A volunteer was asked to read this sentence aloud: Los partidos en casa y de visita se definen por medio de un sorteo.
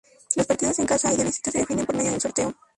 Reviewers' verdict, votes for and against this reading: rejected, 0, 2